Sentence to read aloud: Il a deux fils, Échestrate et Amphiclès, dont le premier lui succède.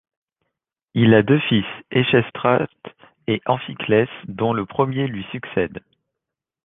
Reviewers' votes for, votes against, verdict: 1, 2, rejected